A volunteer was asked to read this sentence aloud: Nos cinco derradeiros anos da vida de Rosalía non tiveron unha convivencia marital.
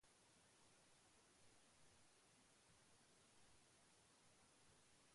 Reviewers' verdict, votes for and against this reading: rejected, 0, 2